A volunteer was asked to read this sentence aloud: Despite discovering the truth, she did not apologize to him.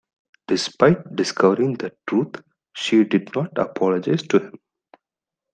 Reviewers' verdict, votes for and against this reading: accepted, 2, 0